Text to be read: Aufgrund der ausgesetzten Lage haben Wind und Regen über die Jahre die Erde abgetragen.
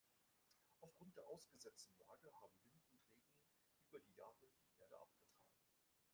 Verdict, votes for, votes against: rejected, 0, 2